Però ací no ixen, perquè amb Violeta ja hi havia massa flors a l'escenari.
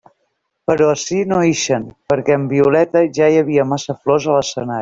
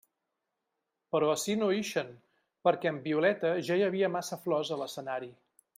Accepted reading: second